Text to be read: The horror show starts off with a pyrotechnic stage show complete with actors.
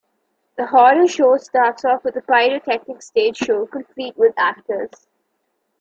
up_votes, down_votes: 2, 0